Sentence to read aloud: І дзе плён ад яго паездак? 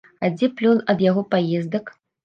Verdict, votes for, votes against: rejected, 1, 2